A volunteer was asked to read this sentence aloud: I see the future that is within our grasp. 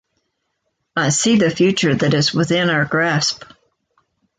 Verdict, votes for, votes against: accepted, 2, 0